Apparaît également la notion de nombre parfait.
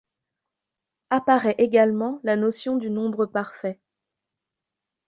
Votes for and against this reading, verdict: 0, 2, rejected